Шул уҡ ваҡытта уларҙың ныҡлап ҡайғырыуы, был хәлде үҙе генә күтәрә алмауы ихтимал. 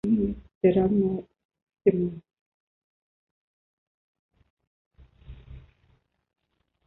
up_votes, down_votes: 0, 2